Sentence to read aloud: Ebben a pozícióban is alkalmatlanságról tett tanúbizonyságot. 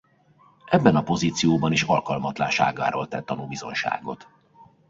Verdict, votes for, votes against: rejected, 0, 2